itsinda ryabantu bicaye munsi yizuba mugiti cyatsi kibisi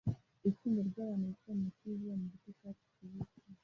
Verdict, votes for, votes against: rejected, 1, 2